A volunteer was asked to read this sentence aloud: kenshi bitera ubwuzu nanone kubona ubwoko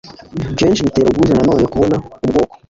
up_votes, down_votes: 1, 2